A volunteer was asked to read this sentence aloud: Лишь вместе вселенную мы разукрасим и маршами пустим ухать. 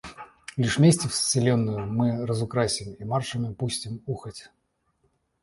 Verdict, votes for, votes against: accepted, 2, 0